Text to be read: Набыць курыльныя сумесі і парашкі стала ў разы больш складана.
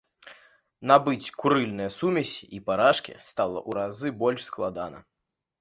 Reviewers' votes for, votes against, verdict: 1, 2, rejected